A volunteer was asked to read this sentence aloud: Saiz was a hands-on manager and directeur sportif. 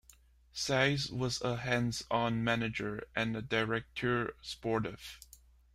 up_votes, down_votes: 2, 1